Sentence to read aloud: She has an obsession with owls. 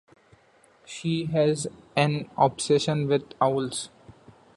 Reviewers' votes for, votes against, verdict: 2, 0, accepted